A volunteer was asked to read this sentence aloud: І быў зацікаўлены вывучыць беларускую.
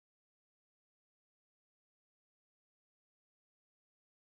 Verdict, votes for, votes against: rejected, 0, 2